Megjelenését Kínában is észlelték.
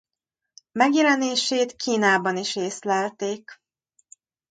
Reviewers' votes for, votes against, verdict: 2, 0, accepted